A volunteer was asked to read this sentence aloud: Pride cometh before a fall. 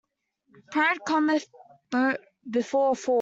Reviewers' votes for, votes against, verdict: 0, 2, rejected